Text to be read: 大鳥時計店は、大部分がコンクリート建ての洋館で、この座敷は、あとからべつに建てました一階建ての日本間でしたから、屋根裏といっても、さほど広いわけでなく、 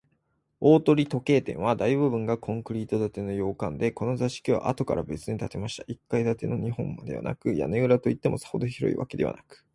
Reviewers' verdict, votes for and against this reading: accepted, 3, 0